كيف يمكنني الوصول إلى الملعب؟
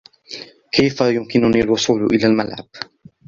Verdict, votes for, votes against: accepted, 2, 0